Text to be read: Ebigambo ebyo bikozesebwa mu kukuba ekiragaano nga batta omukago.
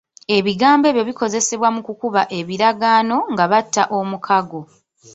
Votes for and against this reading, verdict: 2, 1, accepted